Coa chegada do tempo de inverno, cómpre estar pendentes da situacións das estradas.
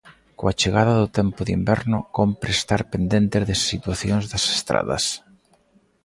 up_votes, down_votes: 2, 0